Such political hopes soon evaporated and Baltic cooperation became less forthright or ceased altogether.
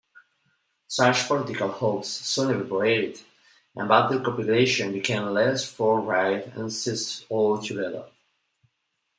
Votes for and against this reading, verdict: 0, 2, rejected